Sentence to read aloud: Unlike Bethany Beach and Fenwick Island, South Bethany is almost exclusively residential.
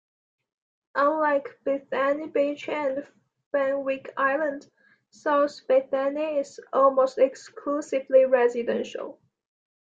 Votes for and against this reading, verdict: 1, 2, rejected